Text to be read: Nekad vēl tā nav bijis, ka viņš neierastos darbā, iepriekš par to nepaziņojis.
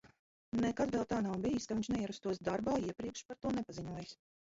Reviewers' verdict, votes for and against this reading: rejected, 0, 4